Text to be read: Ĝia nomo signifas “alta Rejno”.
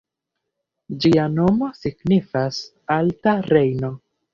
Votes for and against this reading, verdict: 1, 2, rejected